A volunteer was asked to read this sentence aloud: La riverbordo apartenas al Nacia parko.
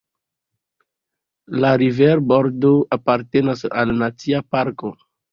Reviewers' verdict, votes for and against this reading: rejected, 0, 2